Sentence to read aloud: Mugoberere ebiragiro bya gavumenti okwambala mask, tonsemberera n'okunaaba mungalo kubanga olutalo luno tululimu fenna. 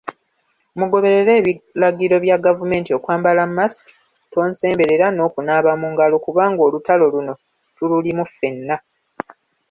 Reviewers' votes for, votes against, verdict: 2, 0, accepted